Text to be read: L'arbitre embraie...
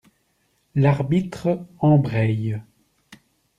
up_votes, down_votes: 2, 0